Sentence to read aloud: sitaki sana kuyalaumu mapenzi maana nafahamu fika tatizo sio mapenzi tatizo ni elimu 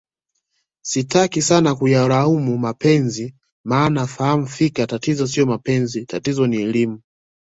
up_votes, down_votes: 2, 0